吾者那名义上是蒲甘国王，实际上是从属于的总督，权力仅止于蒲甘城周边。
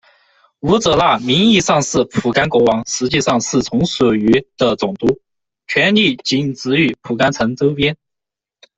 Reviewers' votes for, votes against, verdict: 2, 1, accepted